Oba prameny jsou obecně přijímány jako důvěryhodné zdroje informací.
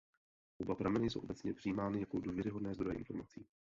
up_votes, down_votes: 0, 2